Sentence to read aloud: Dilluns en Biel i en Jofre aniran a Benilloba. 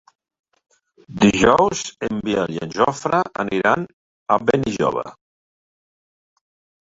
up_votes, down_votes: 3, 1